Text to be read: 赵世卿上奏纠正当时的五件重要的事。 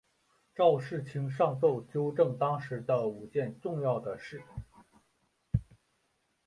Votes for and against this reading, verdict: 7, 0, accepted